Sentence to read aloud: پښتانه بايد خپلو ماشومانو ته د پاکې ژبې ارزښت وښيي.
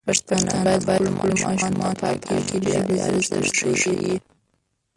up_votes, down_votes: 1, 2